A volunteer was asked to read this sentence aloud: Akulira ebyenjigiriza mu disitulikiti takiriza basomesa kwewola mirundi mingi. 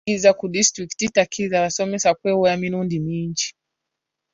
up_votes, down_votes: 1, 2